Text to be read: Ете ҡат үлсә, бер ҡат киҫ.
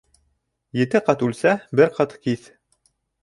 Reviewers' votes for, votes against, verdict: 3, 0, accepted